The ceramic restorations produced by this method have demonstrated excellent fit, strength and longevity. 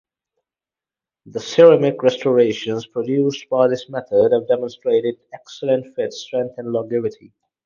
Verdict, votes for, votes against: accepted, 4, 2